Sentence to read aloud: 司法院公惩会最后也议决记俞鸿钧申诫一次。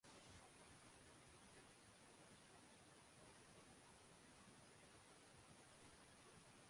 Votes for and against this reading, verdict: 2, 3, rejected